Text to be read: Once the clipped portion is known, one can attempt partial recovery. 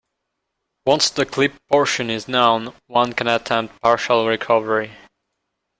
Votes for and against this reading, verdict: 2, 0, accepted